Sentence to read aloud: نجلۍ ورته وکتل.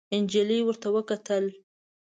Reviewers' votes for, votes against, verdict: 2, 0, accepted